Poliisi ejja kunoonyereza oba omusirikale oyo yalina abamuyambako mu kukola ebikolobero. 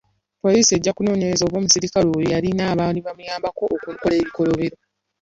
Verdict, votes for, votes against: rejected, 1, 2